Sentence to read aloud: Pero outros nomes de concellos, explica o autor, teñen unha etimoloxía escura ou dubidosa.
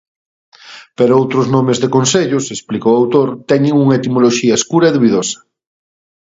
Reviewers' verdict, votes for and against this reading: rejected, 0, 2